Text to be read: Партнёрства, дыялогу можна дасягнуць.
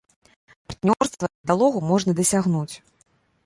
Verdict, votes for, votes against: rejected, 0, 2